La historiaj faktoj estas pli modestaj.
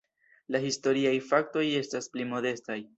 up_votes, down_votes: 2, 0